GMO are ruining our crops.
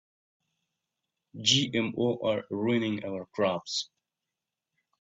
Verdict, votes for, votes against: accepted, 2, 0